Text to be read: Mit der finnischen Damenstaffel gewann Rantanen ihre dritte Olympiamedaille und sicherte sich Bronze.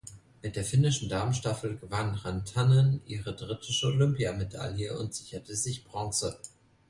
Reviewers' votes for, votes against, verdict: 2, 0, accepted